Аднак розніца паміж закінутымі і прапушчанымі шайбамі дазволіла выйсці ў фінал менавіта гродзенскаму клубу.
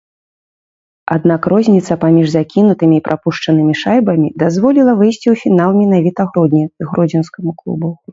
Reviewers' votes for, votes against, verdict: 0, 3, rejected